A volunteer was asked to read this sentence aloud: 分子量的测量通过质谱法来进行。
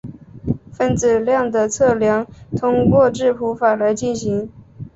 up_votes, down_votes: 4, 0